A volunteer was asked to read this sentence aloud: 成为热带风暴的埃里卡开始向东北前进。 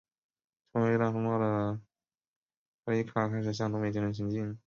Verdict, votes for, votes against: rejected, 0, 4